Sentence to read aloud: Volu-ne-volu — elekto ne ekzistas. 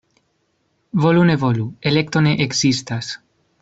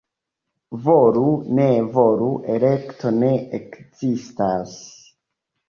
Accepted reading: first